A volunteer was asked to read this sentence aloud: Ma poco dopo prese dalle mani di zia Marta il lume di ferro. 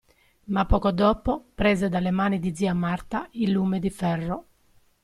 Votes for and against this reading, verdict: 0, 2, rejected